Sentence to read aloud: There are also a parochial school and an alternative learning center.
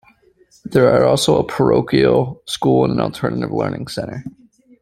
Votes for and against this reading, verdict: 2, 0, accepted